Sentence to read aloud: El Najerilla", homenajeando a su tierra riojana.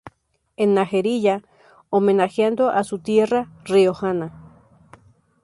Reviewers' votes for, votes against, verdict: 2, 0, accepted